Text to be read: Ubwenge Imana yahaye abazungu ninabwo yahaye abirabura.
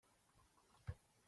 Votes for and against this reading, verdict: 0, 2, rejected